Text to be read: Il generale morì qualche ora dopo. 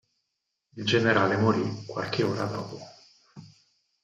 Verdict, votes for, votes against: rejected, 0, 4